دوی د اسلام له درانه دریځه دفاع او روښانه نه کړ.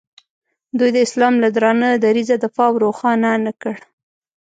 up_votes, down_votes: 1, 2